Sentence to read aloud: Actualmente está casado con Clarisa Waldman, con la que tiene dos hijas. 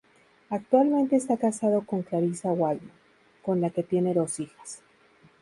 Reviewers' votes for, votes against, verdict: 2, 0, accepted